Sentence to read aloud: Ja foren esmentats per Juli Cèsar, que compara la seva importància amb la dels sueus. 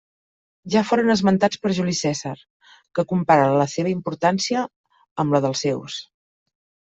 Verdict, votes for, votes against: rejected, 1, 2